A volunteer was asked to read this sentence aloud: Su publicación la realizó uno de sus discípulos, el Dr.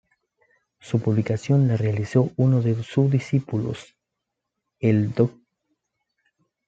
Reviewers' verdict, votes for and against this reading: accepted, 2, 0